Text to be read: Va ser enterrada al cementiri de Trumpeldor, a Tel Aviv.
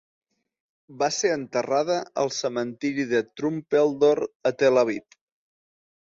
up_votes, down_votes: 2, 1